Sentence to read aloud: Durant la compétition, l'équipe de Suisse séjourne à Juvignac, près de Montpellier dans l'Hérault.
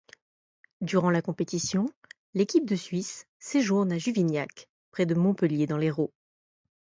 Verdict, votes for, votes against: accepted, 2, 0